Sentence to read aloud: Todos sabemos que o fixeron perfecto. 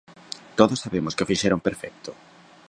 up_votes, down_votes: 3, 1